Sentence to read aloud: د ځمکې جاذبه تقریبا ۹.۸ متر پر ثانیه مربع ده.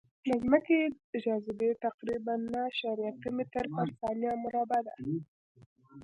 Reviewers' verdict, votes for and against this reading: rejected, 0, 2